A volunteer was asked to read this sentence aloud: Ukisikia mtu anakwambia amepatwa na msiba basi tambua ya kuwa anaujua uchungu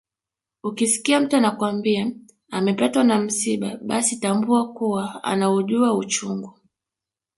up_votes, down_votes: 1, 2